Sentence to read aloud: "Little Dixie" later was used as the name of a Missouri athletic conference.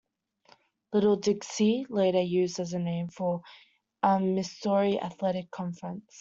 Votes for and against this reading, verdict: 0, 2, rejected